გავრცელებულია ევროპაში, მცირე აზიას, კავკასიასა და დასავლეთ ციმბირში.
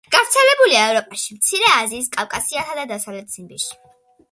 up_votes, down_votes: 2, 0